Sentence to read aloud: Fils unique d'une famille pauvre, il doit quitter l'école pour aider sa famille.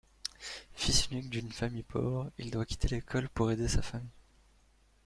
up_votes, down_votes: 3, 2